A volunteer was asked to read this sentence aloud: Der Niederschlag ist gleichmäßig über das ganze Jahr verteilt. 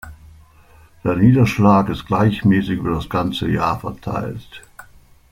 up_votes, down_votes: 2, 0